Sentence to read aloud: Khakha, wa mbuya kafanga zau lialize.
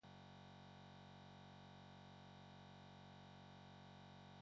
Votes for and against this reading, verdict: 0, 2, rejected